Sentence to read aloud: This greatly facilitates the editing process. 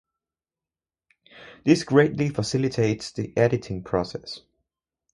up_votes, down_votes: 4, 0